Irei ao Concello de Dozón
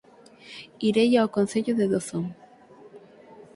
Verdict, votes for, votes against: accepted, 6, 0